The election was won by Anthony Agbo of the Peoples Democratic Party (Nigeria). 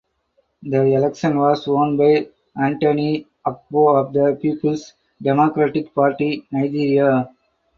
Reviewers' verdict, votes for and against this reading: accepted, 4, 2